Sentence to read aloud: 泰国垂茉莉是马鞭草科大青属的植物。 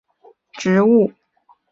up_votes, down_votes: 0, 3